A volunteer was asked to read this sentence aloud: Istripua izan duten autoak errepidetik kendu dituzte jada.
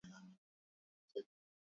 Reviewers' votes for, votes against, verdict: 4, 2, accepted